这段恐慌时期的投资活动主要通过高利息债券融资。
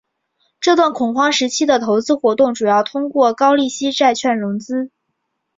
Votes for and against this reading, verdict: 3, 0, accepted